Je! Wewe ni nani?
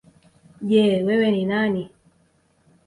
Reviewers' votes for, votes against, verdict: 2, 1, accepted